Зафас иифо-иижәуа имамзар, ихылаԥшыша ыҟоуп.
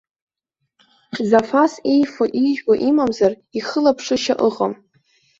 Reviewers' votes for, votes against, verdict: 0, 2, rejected